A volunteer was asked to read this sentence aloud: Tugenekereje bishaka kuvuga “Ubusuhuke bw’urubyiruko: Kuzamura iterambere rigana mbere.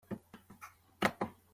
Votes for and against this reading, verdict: 0, 2, rejected